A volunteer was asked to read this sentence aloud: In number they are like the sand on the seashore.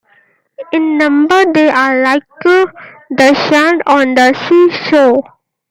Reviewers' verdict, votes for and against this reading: rejected, 0, 2